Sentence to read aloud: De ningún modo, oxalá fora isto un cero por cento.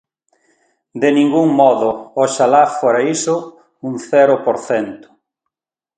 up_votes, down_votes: 1, 2